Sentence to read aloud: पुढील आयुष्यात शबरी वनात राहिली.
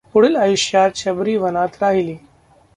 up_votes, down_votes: 0, 2